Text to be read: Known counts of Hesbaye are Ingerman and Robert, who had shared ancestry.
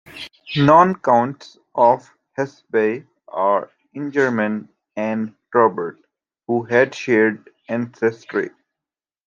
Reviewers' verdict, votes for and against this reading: accepted, 2, 1